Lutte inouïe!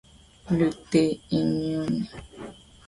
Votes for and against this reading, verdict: 1, 2, rejected